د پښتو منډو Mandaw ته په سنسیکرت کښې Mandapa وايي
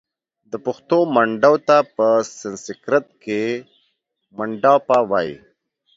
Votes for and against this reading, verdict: 2, 0, accepted